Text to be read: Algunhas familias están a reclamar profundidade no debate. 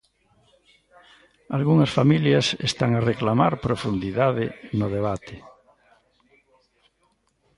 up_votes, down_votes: 2, 0